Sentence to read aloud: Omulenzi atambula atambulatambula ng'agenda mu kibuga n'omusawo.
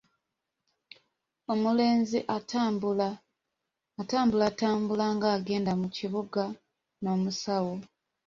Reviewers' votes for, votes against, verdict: 0, 2, rejected